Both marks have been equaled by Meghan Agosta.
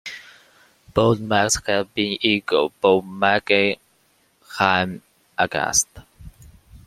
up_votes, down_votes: 1, 2